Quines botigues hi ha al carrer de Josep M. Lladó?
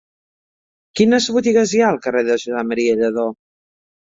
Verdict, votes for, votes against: accepted, 2, 1